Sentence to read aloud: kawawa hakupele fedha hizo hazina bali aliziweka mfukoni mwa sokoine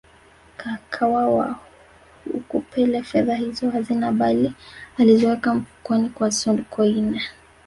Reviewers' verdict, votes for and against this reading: rejected, 1, 2